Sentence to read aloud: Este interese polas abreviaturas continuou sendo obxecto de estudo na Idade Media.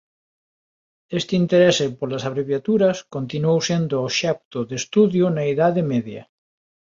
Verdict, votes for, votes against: rejected, 2, 3